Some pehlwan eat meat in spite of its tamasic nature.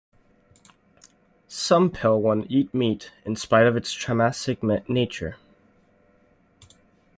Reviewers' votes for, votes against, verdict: 2, 3, rejected